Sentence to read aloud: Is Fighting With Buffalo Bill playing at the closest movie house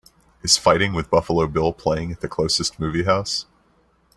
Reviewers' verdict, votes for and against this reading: accepted, 2, 0